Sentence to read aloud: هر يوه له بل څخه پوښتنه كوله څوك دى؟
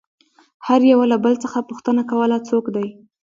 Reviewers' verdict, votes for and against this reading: accepted, 2, 0